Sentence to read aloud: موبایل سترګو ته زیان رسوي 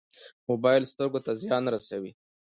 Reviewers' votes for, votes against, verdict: 2, 0, accepted